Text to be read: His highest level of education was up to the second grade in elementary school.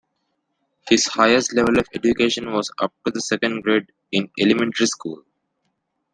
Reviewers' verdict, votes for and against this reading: accepted, 2, 0